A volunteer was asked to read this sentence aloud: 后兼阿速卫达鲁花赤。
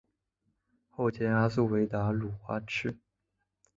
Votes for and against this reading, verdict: 3, 0, accepted